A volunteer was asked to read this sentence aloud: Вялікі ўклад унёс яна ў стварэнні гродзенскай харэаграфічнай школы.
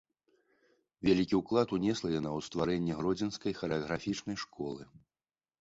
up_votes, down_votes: 0, 2